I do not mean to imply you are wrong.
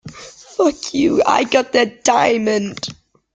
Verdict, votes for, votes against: rejected, 0, 2